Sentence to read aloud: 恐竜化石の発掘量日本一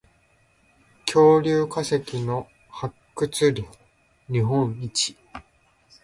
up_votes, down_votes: 2, 0